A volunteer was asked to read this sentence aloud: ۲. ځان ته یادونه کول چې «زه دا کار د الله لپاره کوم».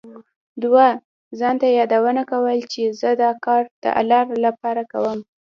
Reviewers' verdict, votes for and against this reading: rejected, 0, 2